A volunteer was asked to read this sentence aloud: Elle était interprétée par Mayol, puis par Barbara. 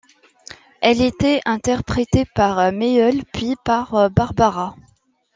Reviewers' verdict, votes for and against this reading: rejected, 1, 2